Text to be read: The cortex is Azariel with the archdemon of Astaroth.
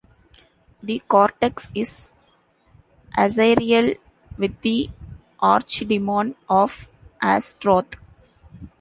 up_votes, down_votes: 1, 2